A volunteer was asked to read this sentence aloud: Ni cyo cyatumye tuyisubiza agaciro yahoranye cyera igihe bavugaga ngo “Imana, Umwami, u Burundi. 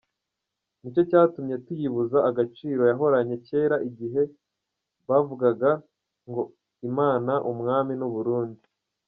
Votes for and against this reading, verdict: 0, 3, rejected